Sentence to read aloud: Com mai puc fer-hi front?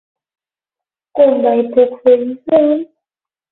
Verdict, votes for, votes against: accepted, 12, 6